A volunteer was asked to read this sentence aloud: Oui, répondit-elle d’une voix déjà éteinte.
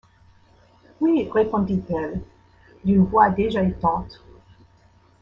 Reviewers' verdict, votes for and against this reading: rejected, 1, 2